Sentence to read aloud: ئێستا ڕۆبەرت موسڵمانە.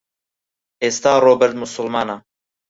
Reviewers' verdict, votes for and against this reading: rejected, 0, 4